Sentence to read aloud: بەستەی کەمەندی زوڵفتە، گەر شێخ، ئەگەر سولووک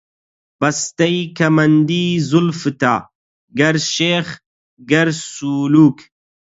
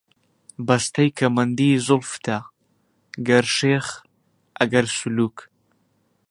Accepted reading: second